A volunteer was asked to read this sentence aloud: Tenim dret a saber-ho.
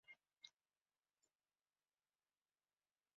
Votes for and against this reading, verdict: 0, 2, rejected